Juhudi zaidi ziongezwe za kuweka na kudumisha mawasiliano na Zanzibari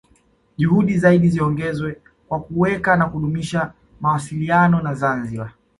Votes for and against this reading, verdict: 1, 2, rejected